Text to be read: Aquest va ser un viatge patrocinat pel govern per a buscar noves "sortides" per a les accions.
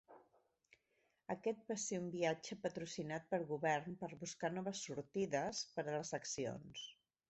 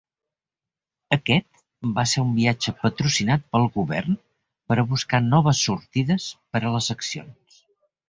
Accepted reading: second